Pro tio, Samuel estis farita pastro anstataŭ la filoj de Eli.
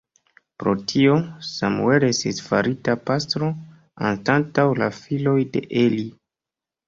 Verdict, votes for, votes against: rejected, 1, 3